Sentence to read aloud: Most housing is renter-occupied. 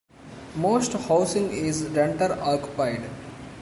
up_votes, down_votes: 1, 2